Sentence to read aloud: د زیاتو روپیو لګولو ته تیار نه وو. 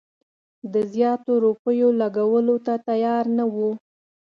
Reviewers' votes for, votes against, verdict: 2, 0, accepted